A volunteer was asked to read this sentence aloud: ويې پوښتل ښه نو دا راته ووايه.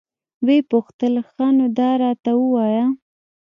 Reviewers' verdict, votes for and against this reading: accepted, 2, 0